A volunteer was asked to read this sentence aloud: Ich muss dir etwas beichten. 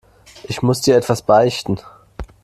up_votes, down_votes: 2, 0